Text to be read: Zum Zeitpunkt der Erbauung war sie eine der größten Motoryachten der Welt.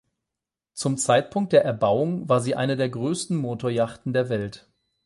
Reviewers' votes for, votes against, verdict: 8, 0, accepted